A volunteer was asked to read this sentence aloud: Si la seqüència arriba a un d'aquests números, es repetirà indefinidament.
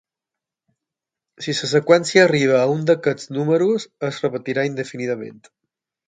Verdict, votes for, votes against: rejected, 0, 6